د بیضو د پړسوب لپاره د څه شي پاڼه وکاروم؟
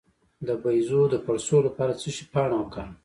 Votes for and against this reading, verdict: 1, 2, rejected